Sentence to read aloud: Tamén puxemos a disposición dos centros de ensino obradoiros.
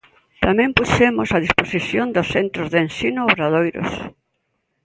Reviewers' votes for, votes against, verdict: 2, 0, accepted